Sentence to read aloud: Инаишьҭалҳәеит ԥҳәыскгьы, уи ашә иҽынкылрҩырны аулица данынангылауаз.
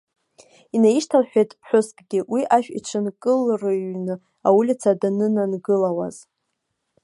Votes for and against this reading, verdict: 1, 2, rejected